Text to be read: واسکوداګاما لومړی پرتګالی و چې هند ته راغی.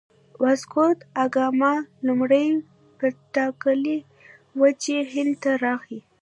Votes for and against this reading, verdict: 1, 2, rejected